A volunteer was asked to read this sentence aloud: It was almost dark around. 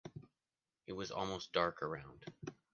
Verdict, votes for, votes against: accepted, 2, 0